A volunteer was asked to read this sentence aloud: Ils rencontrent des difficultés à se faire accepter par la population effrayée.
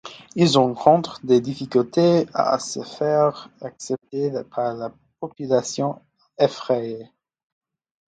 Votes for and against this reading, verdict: 1, 2, rejected